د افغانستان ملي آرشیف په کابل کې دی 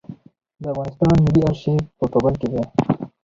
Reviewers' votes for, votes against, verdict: 2, 2, rejected